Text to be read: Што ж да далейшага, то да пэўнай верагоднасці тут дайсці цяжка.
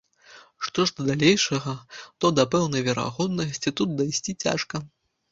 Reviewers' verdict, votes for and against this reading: rejected, 0, 2